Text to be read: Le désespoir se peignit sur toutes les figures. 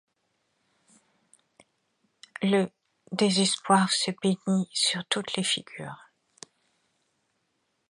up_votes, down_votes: 1, 2